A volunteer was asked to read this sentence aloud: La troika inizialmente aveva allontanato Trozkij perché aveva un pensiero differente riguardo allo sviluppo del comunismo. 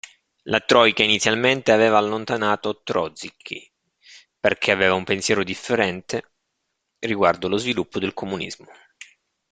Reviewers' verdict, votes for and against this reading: rejected, 1, 2